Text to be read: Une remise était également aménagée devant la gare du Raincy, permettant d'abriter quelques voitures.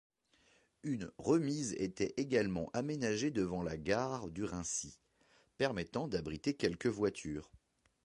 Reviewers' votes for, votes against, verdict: 2, 0, accepted